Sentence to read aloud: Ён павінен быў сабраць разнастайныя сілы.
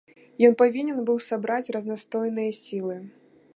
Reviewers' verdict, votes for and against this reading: rejected, 1, 2